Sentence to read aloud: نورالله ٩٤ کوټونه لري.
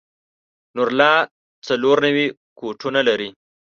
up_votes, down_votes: 0, 2